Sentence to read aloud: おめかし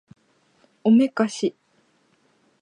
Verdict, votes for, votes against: accepted, 2, 0